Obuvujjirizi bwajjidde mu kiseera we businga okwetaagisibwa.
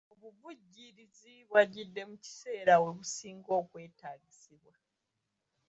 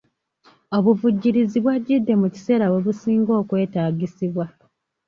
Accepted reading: second